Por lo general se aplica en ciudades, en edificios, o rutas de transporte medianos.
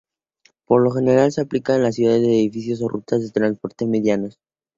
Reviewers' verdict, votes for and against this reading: rejected, 0, 2